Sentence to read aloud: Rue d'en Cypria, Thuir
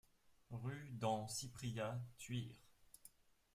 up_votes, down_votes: 2, 0